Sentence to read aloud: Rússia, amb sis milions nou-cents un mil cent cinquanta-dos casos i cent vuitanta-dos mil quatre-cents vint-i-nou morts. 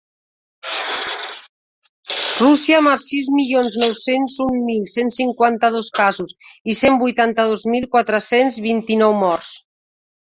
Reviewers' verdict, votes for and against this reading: rejected, 0, 2